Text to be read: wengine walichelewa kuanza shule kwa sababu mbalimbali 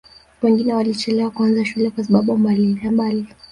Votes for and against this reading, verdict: 2, 0, accepted